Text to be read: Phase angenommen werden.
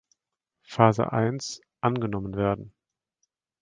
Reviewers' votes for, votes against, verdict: 0, 2, rejected